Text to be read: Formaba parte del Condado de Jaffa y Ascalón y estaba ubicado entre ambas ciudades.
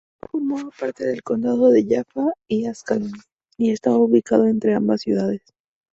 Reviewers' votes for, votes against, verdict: 2, 2, rejected